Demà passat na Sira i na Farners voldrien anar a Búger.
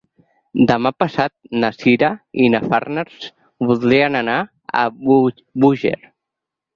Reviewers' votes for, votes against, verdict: 0, 4, rejected